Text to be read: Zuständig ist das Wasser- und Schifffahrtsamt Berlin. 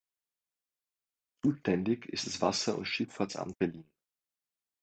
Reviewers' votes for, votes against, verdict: 0, 2, rejected